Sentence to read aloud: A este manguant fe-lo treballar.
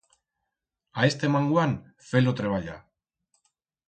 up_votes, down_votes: 4, 0